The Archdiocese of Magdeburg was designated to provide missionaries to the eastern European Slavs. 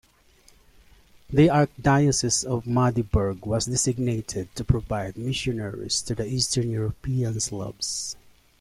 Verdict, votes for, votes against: accepted, 2, 0